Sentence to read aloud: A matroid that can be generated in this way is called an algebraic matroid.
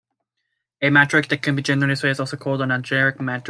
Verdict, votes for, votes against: rejected, 0, 2